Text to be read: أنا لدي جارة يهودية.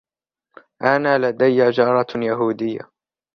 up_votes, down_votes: 1, 2